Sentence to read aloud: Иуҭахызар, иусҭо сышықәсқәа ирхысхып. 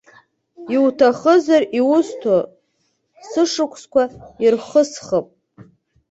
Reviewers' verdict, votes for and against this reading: accepted, 3, 0